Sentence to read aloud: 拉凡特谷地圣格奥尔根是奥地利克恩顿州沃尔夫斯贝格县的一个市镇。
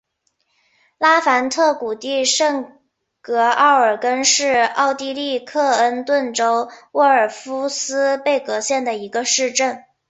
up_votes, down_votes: 4, 0